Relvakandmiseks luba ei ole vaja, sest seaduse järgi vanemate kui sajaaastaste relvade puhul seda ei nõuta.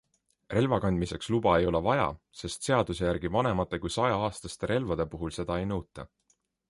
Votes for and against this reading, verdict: 2, 0, accepted